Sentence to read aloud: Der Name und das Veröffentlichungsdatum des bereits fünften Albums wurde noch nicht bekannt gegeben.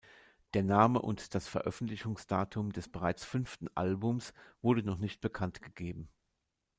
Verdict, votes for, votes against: accepted, 2, 0